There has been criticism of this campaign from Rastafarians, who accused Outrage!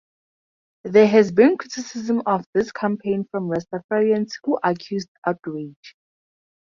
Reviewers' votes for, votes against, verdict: 2, 2, rejected